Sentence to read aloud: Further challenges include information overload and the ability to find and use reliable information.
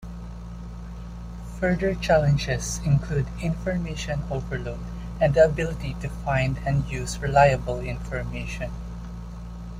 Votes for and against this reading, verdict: 2, 0, accepted